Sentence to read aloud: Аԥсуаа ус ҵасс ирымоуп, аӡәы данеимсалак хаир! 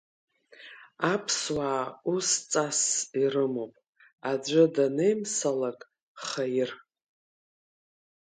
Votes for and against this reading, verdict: 4, 1, accepted